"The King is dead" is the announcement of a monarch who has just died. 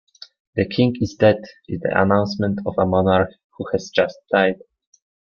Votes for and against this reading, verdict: 2, 0, accepted